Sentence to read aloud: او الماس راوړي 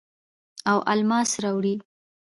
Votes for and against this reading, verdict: 0, 2, rejected